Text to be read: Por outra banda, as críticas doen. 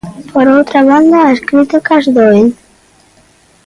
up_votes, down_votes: 1, 2